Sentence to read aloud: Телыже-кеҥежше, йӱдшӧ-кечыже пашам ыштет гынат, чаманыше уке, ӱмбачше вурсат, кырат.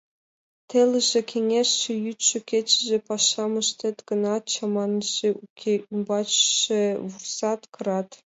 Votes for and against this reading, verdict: 0, 2, rejected